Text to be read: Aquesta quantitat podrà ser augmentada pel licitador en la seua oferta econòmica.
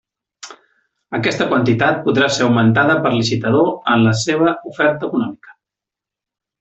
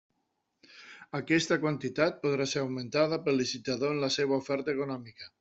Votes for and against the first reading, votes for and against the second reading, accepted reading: 0, 2, 2, 0, second